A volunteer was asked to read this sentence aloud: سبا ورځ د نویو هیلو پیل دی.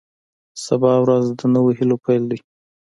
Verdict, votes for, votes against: accepted, 2, 0